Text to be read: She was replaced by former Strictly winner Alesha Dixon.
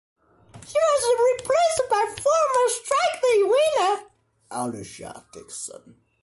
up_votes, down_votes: 1, 2